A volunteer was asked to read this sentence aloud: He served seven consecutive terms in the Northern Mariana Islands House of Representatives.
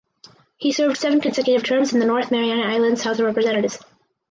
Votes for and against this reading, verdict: 2, 2, rejected